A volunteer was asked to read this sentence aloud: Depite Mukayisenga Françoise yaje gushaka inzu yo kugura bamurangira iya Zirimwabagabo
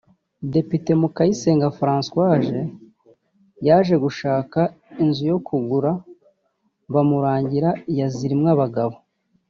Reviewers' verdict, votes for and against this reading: accepted, 2, 0